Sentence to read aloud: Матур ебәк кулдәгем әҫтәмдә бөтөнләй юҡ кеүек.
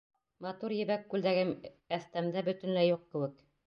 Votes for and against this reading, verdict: 1, 2, rejected